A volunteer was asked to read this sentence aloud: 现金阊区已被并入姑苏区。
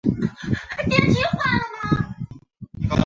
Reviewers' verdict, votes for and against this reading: rejected, 0, 2